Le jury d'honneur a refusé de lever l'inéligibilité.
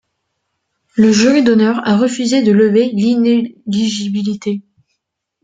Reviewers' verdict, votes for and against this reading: rejected, 0, 2